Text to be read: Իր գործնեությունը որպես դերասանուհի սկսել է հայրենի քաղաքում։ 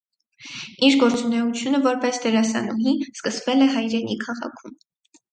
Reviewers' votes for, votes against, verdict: 2, 4, rejected